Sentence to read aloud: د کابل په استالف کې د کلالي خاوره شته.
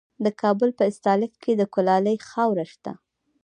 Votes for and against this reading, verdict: 2, 1, accepted